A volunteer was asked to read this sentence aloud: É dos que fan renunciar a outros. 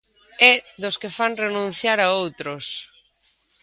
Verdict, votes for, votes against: accepted, 2, 0